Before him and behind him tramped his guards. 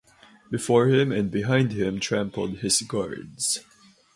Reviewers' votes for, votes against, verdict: 0, 4, rejected